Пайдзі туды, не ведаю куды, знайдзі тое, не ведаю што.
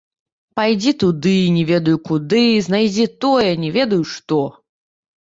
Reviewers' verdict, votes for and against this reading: rejected, 0, 2